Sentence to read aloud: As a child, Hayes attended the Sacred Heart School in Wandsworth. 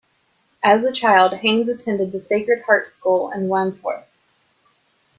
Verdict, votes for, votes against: accepted, 2, 0